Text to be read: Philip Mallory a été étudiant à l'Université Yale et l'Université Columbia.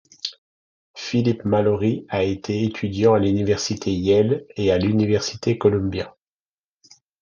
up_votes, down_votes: 0, 2